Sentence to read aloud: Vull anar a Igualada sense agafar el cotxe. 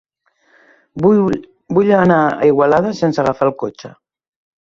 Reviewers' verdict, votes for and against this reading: rejected, 0, 2